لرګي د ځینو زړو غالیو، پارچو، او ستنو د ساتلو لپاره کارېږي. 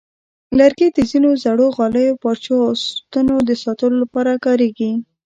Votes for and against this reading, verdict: 1, 2, rejected